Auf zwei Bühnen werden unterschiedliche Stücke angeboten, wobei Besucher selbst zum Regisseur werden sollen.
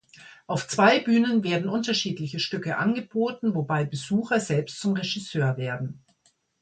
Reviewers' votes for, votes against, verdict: 1, 2, rejected